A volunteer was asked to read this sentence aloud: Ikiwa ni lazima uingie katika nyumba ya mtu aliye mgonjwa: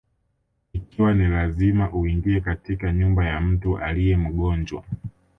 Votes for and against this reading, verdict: 2, 0, accepted